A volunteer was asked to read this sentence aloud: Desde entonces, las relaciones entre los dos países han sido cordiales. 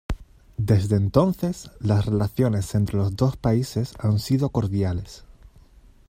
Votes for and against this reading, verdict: 2, 0, accepted